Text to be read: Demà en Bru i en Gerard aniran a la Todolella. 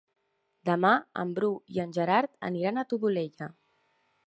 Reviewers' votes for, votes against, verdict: 1, 2, rejected